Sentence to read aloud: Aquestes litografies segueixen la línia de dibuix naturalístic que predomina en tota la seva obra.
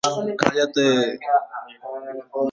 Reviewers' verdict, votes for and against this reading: rejected, 1, 2